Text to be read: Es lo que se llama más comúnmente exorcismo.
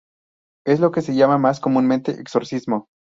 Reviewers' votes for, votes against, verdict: 4, 0, accepted